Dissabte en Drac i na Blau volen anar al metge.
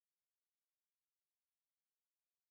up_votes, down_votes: 1, 3